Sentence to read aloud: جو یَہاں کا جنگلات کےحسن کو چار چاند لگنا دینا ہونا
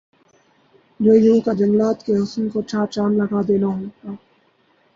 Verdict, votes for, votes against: rejected, 0, 2